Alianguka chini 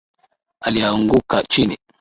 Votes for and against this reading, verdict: 2, 1, accepted